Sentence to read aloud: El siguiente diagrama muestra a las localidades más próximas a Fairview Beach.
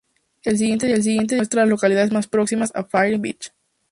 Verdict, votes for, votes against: rejected, 0, 4